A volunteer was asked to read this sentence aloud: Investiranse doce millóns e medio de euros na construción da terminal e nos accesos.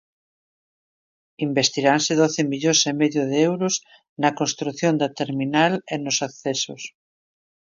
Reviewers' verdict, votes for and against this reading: accepted, 2, 0